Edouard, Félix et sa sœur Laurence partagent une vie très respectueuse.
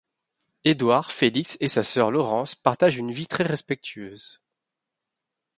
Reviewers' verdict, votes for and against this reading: accepted, 2, 0